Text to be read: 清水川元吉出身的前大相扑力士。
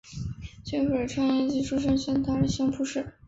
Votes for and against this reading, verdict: 0, 2, rejected